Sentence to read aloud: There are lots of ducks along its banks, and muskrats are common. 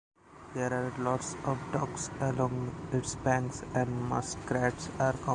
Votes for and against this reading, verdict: 2, 1, accepted